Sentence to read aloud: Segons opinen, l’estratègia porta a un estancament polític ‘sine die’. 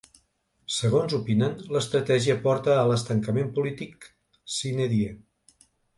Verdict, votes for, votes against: rejected, 1, 2